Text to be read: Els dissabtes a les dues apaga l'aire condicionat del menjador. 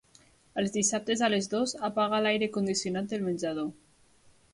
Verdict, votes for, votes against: rejected, 0, 2